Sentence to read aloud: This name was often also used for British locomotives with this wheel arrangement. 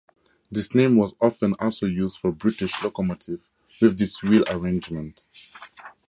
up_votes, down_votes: 2, 0